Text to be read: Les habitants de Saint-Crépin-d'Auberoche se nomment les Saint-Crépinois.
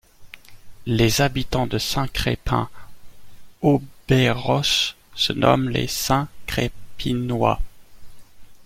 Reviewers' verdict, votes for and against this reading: accepted, 2, 0